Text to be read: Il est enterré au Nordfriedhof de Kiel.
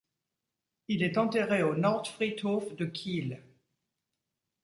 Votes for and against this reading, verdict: 2, 0, accepted